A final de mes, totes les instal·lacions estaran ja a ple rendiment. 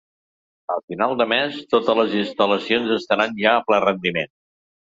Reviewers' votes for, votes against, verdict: 0, 2, rejected